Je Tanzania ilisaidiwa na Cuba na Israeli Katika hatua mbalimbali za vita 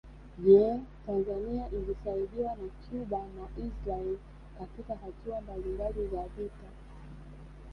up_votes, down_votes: 1, 2